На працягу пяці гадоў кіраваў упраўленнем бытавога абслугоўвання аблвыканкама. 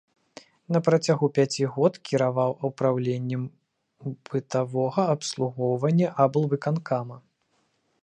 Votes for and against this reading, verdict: 0, 2, rejected